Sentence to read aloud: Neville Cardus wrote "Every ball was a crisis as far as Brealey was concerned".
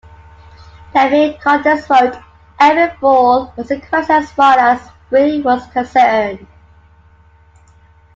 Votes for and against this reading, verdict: 0, 2, rejected